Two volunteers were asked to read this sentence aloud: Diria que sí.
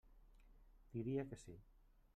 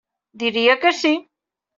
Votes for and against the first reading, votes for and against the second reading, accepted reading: 1, 2, 3, 0, second